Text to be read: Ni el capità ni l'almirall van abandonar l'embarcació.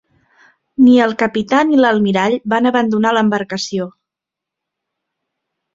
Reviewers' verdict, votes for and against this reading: accepted, 2, 0